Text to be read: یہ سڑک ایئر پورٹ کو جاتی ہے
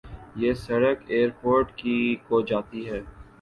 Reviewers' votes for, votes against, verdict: 1, 2, rejected